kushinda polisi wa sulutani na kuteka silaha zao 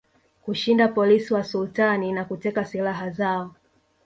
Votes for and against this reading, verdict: 1, 2, rejected